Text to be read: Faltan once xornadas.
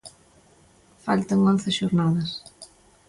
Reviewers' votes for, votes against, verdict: 2, 0, accepted